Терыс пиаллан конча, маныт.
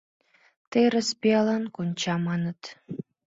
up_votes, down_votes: 2, 3